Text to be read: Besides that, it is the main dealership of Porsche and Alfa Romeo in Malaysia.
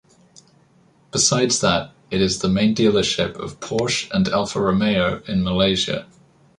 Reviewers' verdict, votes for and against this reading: accepted, 2, 0